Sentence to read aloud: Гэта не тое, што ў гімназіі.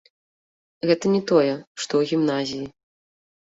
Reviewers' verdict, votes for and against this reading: accepted, 2, 1